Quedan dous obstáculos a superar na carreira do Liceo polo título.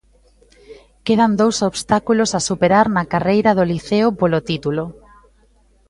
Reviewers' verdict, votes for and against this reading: accepted, 2, 0